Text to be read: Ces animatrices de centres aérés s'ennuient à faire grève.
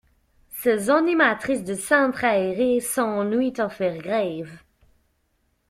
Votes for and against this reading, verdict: 1, 2, rejected